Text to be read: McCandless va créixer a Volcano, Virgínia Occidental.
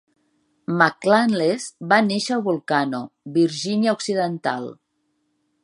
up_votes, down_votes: 1, 2